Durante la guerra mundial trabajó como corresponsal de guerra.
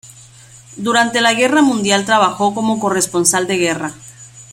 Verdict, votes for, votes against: rejected, 1, 2